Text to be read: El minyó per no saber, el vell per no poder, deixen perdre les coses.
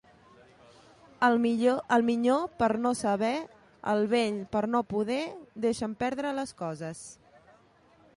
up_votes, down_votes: 0, 2